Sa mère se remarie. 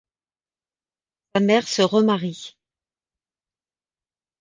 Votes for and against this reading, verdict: 0, 2, rejected